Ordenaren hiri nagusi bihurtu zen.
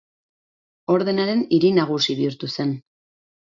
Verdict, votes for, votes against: accepted, 4, 0